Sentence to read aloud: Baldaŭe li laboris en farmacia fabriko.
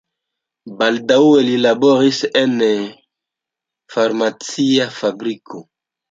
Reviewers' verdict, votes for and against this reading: rejected, 1, 2